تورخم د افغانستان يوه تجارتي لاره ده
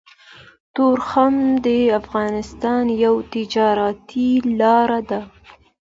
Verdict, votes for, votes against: accepted, 2, 0